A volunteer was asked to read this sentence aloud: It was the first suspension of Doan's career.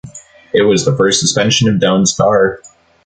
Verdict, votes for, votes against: rejected, 0, 2